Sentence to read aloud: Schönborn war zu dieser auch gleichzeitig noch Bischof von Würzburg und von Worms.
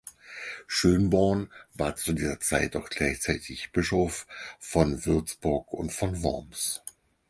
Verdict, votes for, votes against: rejected, 0, 4